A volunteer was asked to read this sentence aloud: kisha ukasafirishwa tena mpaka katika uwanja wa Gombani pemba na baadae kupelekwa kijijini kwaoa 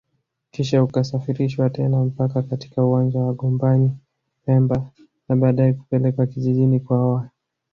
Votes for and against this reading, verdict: 2, 0, accepted